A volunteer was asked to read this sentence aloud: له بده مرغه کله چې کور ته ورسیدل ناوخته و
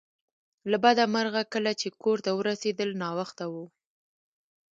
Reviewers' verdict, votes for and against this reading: accepted, 2, 0